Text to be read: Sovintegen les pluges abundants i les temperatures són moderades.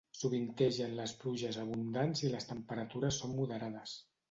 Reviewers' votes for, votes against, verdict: 2, 0, accepted